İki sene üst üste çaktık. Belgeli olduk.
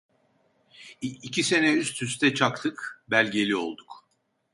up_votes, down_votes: 0, 2